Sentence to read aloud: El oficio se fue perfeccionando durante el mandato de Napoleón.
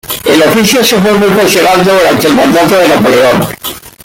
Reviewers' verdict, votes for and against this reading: rejected, 0, 2